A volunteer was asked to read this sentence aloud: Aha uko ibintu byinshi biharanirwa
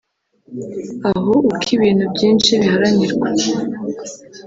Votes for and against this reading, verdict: 1, 2, rejected